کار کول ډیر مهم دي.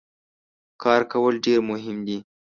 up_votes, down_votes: 2, 0